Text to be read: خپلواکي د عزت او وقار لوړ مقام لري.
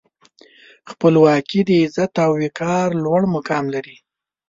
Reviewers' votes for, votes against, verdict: 2, 0, accepted